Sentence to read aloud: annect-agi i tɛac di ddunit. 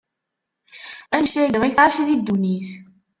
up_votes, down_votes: 0, 2